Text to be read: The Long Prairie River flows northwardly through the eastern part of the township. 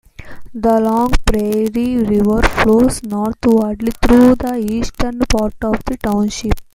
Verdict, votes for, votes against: rejected, 1, 2